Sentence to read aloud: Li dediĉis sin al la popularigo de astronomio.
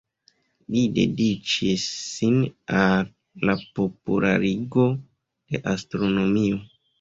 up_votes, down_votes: 1, 2